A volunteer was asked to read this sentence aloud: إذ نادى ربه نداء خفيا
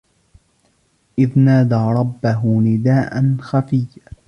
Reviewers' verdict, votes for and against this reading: rejected, 0, 2